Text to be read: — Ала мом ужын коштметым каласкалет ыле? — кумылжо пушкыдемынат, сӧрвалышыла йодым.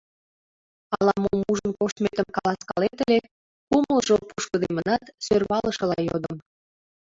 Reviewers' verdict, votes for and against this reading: rejected, 0, 2